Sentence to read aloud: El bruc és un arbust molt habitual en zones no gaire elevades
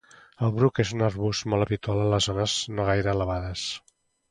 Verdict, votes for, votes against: rejected, 0, 2